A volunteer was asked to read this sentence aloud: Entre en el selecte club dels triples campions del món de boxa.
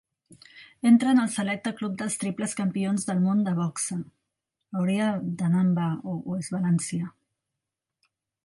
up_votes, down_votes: 0, 2